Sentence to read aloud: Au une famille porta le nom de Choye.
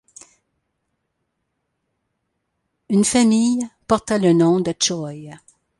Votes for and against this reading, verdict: 1, 2, rejected